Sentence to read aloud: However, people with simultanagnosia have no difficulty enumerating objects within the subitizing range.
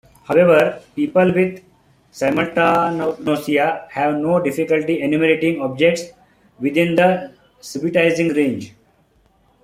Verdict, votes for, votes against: rejected, 0, 2